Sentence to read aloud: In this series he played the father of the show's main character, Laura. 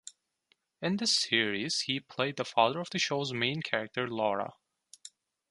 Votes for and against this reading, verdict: 2, 0, accepted